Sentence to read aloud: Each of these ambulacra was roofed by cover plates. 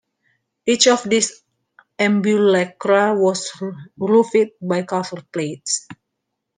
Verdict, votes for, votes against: rejected, 0, 2